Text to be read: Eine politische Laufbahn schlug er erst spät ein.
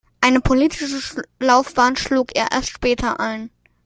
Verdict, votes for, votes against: rejected, 0, 2